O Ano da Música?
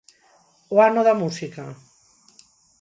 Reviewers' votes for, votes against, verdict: 6, 0, accepted